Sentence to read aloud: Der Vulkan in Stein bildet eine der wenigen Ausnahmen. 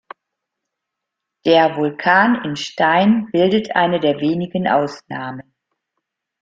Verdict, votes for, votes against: accepted, 2, 0